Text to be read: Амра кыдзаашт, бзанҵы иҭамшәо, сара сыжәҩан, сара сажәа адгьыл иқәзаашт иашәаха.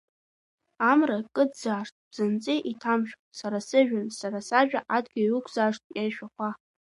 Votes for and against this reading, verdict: 0, 2, rejected